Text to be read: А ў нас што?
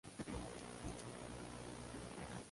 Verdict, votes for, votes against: rejected, 0, 2